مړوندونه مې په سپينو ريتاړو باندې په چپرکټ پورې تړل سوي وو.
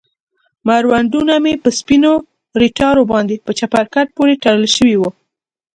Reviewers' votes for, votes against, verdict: 2, 0, accepted